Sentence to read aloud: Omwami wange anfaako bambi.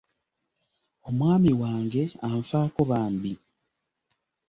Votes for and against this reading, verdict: 2, 0, accepted